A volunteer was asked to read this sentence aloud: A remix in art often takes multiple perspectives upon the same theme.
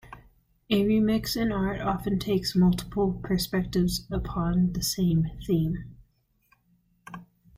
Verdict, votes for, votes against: accepted, 2, 0